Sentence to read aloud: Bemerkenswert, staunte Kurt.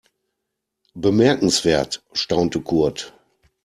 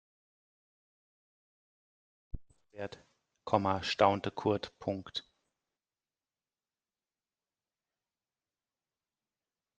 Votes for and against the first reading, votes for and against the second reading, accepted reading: 2, 0, 0, 2, first